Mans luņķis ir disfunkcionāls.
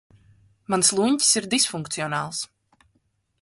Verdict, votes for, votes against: accepted, 3, 0